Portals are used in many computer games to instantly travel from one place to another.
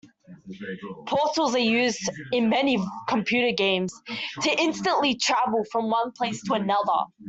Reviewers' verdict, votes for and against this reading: rejected, 1, 2